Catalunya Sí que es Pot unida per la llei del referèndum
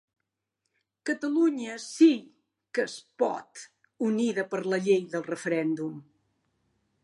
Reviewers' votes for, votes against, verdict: 4, 0, accepted